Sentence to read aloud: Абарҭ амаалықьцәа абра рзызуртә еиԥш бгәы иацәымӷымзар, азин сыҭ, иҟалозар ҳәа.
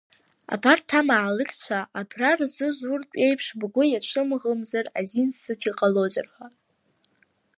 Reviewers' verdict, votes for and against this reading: accepted, 2, 0